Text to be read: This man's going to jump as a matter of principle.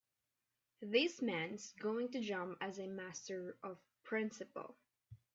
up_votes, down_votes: 0, 2